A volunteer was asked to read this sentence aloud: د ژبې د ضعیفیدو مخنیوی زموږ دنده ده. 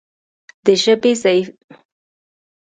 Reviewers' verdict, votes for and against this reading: rejected, 0, 2